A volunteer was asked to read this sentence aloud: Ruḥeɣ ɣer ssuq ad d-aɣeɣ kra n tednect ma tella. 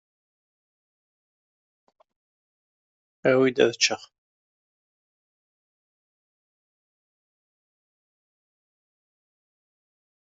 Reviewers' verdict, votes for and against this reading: rejected, 0, 2